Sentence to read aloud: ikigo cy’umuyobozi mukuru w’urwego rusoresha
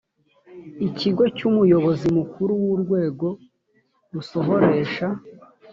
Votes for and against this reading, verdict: 1, 2, rejected